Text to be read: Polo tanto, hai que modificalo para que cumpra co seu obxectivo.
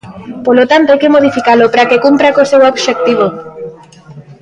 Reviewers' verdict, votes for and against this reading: rejected, 1, 2